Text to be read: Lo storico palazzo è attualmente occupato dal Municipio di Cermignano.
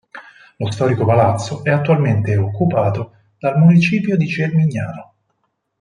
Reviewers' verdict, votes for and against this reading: accepted, 4, 0